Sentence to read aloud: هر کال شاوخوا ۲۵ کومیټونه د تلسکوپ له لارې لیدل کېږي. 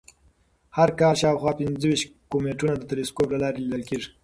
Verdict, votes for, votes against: rejected, 0, 2